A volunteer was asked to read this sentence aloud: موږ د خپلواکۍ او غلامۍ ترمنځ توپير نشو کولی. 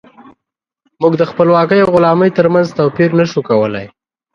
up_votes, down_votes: 8, 0